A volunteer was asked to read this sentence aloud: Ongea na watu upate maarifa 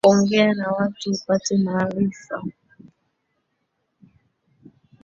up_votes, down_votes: 1, 2